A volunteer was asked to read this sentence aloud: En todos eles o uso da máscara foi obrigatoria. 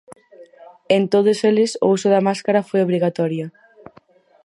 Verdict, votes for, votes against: rejected, 2, 4